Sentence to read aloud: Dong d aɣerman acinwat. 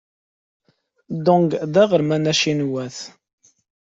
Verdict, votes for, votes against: accepted, 2, 0